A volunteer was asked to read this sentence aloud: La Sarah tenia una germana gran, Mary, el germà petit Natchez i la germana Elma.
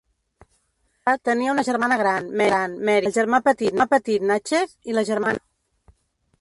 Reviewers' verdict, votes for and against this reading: rejected, 0, 3